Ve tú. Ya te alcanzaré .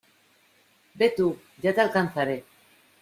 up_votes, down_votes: 2, 0